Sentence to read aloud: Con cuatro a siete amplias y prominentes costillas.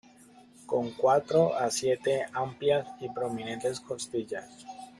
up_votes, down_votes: 1, 2